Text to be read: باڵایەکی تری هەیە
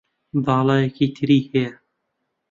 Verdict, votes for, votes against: accepted, 2, 0